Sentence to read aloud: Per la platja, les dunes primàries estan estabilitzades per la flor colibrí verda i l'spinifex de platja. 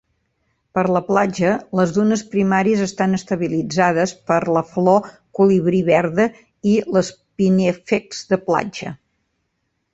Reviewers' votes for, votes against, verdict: 2, 0, accepted